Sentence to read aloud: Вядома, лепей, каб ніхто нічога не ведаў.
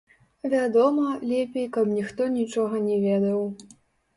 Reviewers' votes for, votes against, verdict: 1, 2, rejected